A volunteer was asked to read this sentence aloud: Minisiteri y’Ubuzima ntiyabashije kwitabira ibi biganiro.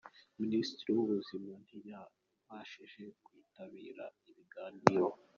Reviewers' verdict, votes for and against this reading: rejected, 1, 2